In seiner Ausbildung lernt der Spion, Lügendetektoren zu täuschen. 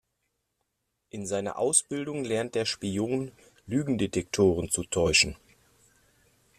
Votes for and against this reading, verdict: 2, 0, accepted